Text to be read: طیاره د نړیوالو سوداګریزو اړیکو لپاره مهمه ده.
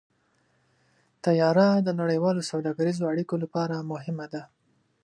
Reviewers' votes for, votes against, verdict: 2, 0, accepted